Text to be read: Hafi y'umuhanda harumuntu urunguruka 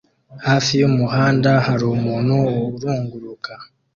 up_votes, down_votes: 2, 0